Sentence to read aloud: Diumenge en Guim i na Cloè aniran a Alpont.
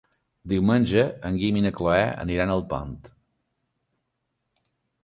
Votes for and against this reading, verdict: 2, 0, accepted